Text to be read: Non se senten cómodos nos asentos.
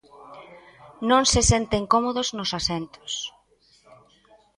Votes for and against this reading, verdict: 1, 2, rejected